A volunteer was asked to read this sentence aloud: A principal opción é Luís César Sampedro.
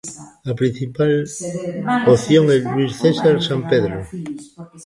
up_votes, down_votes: 0, 2